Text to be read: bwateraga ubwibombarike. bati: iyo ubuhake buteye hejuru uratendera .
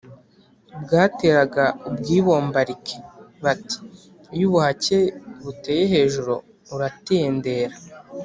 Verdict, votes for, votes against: accepted, 2, 0